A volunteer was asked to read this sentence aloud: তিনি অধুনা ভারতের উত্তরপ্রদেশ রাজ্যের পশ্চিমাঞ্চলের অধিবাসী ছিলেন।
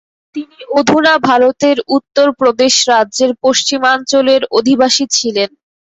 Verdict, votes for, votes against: accepted, 2, 0